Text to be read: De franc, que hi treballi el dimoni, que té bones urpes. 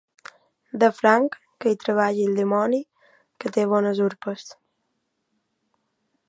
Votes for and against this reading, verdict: 2, 0, accepted